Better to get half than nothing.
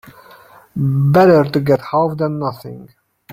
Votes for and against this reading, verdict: 1, 2, rejected